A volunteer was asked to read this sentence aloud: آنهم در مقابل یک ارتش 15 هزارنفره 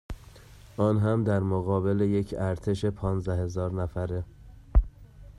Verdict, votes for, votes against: rejected, 0, 2